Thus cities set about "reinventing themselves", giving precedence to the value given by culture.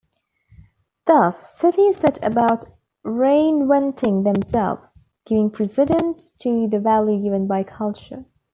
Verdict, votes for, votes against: accepted, 2, 1